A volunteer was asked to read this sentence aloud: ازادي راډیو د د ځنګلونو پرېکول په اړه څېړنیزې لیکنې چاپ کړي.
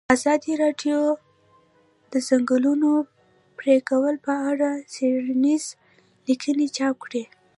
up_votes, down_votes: 1, 2